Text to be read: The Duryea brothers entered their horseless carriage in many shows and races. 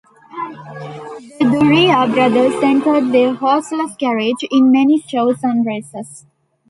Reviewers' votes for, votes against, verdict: 0, 2, rejected